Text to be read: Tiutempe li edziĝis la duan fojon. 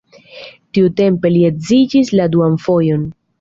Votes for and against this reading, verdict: 2, 0, accepted